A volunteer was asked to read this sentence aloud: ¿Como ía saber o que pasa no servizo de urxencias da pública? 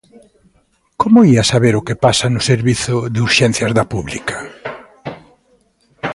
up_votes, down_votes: 2, 0